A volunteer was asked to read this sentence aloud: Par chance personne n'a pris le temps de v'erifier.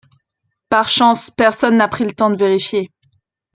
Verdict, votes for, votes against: accepted, 2, 0